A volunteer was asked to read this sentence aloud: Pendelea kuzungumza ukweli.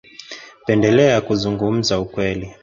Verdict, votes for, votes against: rejected, 1, 2